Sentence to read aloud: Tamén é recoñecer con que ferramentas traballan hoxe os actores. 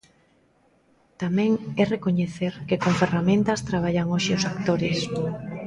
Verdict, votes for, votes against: rejected, 0, 2